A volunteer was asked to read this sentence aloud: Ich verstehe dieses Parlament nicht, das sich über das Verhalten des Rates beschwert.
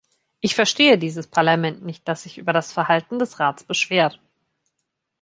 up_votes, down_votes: 2, 1